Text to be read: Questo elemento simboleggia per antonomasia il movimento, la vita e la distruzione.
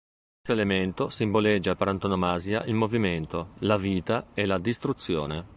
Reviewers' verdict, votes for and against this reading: rejected, 1, 2